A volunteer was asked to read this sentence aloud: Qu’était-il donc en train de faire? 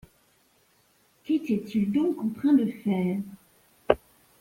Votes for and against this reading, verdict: 1, 2, rejected